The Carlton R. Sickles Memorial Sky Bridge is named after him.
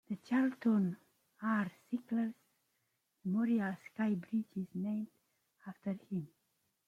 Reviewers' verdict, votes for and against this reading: rejected, 1, 2